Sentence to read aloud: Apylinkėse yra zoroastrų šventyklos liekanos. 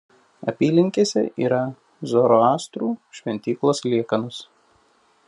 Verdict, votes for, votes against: accepted, 2, 0